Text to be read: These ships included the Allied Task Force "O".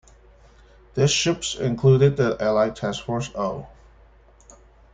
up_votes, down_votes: 2, 1